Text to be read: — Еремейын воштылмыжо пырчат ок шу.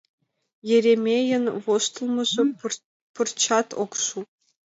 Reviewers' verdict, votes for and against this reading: accepted, 2, 0